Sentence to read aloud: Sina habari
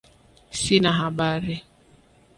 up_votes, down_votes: 2, 0